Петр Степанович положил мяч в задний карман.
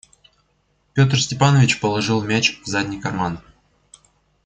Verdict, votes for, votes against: accepted, 2, 0